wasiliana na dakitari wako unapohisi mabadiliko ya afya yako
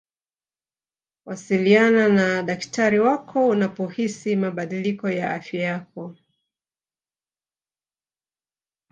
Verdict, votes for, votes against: rejected, 0, 2